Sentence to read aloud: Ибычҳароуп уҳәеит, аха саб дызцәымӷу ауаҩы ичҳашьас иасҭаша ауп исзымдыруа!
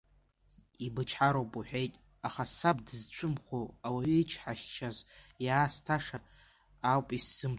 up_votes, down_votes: 0, 2